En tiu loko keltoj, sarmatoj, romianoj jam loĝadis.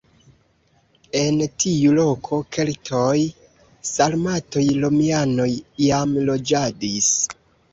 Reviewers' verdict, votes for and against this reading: rejected, 0, 2